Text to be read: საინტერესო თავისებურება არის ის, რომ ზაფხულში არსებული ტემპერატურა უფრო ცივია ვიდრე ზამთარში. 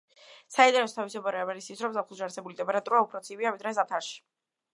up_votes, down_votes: 0, 2